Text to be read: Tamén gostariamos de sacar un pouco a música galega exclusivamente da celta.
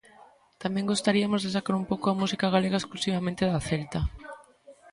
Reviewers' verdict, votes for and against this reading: rejected, 0, 2